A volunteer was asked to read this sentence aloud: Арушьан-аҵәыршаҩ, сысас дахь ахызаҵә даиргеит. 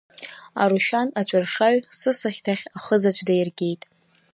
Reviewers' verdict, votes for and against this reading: rejected, 1, 2